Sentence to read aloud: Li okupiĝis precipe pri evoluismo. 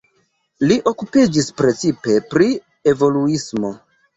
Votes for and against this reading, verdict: 3, 0, accepted